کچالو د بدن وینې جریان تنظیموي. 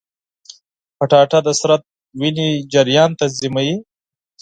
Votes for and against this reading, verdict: 2, 4, rejected